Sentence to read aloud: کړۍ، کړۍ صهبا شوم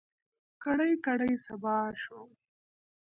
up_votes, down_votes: 1, 2